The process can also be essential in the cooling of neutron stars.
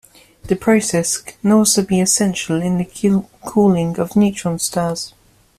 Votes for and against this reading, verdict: 2, 1, accepted